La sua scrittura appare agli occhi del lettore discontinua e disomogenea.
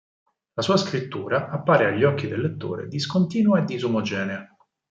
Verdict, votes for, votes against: accepted, 4, 0